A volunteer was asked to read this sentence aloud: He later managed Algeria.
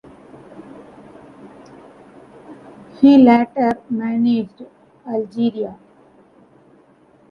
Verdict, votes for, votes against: rejected, 1, 2